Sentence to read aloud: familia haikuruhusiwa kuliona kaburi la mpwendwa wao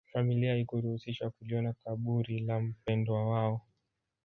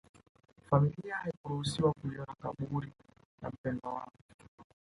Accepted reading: first